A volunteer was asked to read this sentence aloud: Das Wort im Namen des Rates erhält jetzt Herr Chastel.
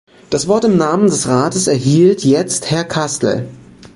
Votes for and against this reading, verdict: 0, 2, rejected